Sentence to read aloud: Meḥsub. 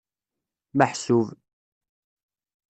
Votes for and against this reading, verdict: 2, 0, accepted